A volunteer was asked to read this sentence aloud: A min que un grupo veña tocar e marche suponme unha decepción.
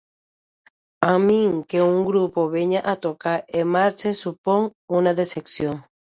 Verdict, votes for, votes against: rejected, 0, 2